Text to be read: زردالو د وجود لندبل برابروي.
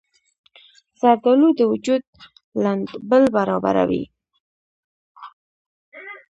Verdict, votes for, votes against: rejected, 0, 2